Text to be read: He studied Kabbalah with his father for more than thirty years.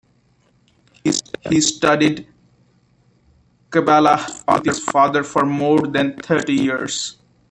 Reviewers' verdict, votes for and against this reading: rejected, 0, 2